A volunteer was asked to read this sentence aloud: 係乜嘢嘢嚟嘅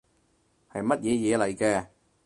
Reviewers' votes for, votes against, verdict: 4, 0, accepted